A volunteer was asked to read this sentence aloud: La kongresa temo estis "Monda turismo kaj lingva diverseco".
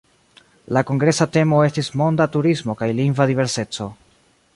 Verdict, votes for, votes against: accepted, 2, 1